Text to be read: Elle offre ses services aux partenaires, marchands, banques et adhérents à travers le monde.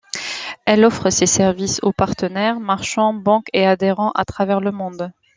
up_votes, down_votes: 2, 0